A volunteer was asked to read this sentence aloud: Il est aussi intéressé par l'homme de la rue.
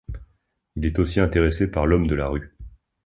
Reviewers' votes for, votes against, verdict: 2, 1, accepted